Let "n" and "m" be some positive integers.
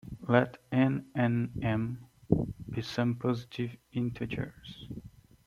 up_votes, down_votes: 2, 1